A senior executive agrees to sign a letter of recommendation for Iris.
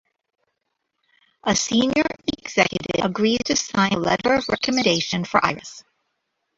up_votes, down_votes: 1, 2